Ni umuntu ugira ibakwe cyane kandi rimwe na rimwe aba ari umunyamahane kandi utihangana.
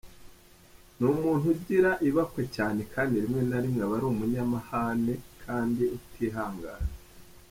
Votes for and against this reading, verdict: 1, 2, rejected